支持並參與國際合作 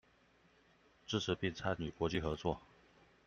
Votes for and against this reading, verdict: 2, 0, accepted